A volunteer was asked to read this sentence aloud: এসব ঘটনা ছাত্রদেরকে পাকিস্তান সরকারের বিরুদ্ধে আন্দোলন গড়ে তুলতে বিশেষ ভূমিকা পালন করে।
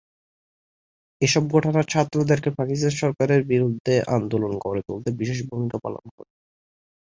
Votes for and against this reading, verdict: 4, 0, accepted